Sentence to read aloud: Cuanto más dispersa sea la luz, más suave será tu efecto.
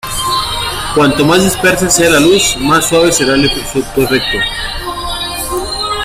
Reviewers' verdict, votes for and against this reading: rejected, 0, 2